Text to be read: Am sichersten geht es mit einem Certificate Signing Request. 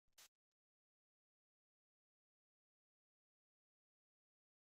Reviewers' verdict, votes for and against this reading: rejected, 0, 2